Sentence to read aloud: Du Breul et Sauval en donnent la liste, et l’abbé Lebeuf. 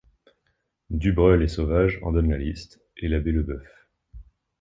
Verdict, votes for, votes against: accepted, 2, 0